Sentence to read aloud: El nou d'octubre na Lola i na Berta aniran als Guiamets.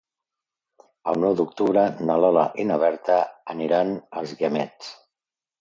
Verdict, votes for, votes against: accepted, 2, 0